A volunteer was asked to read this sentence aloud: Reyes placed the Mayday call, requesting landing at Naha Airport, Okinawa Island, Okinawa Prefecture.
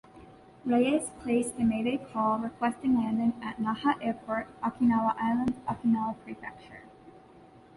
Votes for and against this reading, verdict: 2, 0, accepted